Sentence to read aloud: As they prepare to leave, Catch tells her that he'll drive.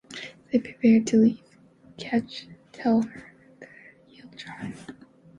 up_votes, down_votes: 2, 1